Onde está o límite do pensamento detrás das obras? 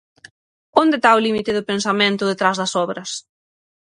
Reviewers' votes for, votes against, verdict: 0, 6, rejected